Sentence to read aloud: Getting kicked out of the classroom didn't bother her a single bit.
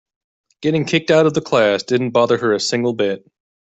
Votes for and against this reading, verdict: 0, 2, rejected